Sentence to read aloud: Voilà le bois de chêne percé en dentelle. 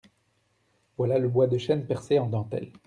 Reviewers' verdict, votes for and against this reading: accepted, 2, 0